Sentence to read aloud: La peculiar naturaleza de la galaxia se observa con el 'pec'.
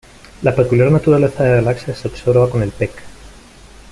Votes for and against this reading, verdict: 3, 0, accepted